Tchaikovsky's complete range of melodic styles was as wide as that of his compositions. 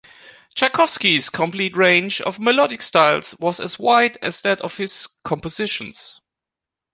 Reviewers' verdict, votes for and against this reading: accepted, 2, 1